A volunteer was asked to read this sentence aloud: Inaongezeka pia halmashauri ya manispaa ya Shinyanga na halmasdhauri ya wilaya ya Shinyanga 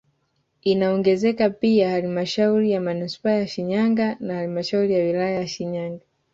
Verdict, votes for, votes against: accepted, 2, 1